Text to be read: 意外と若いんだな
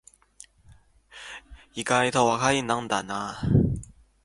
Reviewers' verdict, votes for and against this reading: rejected, 0, 2